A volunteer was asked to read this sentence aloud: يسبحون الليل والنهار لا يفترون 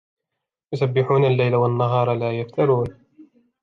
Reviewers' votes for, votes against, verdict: 2, 1, accepted